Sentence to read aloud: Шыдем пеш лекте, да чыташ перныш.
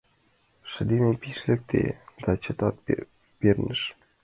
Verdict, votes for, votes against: rejected, 0, 2